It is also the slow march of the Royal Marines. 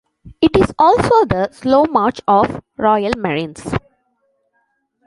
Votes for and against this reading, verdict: 0, 2, rejected